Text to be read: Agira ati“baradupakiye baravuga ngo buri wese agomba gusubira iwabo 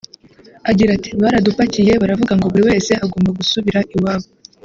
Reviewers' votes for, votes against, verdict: 0, 2, rejected